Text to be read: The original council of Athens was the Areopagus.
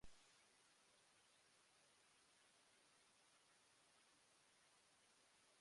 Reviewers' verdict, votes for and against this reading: rejected, 0, 2